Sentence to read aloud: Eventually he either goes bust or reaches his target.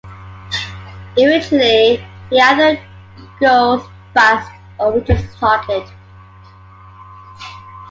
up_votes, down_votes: 2, 0